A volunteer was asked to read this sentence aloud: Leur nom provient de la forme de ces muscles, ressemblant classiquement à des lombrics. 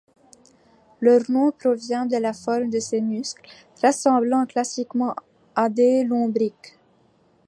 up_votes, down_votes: 2, 0